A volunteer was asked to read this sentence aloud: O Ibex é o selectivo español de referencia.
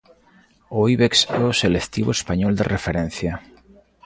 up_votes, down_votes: 3, 0